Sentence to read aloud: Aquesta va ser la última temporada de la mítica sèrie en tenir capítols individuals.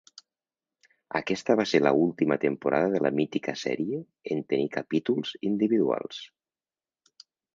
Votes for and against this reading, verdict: 1, 2, rejected